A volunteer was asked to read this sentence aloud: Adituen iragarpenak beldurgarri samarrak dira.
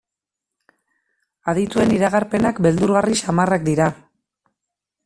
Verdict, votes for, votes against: rejected, 0, 2